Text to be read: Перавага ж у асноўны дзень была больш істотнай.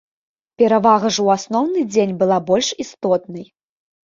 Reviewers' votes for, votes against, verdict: 2, 0, accepted